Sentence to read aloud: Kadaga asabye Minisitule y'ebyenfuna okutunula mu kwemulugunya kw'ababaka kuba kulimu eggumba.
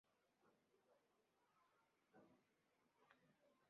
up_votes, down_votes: 0, 2